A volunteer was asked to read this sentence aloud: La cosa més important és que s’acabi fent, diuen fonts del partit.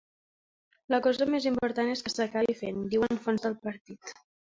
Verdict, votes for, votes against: rejected, 0, 2